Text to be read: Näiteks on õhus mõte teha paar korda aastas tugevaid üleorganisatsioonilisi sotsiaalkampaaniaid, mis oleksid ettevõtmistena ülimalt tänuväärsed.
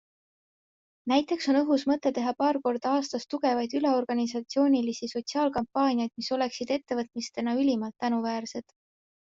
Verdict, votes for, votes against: accepted, 3, 0